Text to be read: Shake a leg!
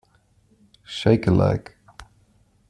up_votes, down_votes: 2, 0